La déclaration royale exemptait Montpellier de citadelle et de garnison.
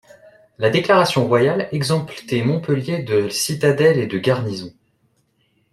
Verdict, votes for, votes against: rejected, 0, 2